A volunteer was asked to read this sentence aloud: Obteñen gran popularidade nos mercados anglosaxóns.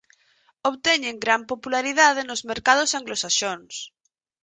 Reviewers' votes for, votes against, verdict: 4, 0, accepted